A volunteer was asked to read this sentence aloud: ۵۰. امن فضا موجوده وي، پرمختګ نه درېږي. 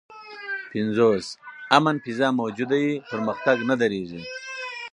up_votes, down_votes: 0, 2